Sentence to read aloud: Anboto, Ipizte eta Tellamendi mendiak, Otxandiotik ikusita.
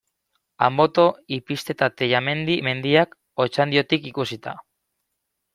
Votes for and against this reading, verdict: 2, 0, accepted